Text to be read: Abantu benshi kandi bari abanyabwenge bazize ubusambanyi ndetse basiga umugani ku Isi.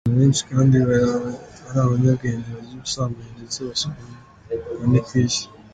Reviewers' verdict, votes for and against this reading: rejected, 1, 2